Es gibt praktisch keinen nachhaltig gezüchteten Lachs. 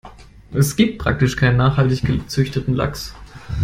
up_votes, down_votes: 2, 0